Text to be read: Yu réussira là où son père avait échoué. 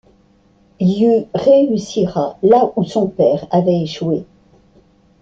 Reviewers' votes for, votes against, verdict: 2, 0, accepted